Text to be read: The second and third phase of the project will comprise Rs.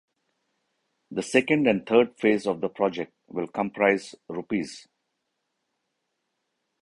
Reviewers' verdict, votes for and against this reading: rejected, 0, 2